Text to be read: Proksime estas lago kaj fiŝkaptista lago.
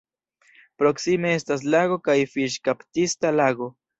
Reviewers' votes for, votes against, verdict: 2, 0, accepted